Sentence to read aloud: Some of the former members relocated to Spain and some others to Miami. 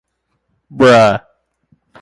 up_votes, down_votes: 0, 2